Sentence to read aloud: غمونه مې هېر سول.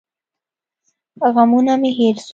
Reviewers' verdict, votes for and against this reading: accepted, 2, 0